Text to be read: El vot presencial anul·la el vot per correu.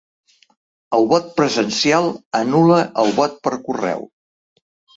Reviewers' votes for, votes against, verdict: 1, 2, rejected